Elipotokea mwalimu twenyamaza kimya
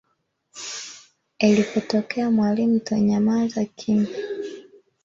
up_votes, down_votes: 1, 2